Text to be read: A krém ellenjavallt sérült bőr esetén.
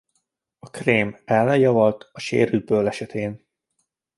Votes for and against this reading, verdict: 1, 2, rejected